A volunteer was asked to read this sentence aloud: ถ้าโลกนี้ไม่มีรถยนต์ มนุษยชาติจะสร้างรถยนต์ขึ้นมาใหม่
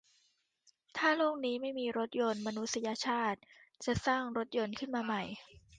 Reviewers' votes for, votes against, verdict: 2, 1, accepted